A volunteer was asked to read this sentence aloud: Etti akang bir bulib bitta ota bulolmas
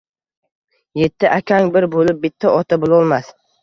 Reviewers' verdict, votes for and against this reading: accepted, 2, 0